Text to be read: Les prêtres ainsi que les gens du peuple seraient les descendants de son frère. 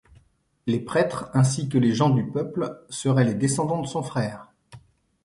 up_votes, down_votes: 2, 0